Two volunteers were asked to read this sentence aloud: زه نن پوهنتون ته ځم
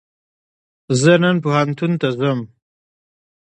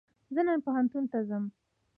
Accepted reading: second